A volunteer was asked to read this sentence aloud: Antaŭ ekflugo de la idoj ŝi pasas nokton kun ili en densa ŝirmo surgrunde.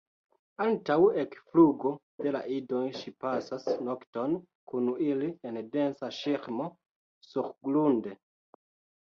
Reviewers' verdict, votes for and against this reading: accepted, 2, 1